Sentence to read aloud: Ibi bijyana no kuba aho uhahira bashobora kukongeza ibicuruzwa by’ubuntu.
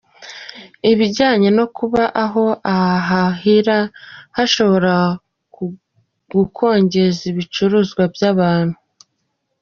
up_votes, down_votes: 0, 2